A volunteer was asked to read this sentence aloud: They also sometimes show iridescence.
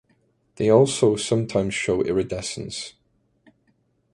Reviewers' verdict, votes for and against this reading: accepted, 2, 0